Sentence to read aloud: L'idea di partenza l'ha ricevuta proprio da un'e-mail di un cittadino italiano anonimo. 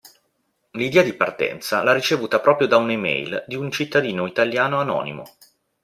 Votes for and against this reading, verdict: 0, 2, rejected